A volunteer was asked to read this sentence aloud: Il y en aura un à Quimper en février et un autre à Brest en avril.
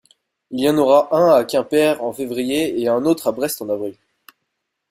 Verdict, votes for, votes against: accepted, 2, 1